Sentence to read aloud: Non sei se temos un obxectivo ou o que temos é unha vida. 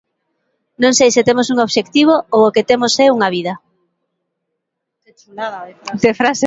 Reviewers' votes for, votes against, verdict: 0, 2, rejected